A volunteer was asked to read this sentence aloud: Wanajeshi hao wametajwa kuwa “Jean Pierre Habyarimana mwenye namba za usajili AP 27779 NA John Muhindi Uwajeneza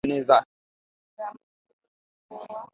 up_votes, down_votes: 0, 2